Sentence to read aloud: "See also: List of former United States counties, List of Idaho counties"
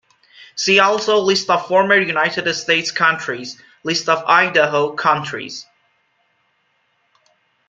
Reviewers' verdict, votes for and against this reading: rejected, 0, 2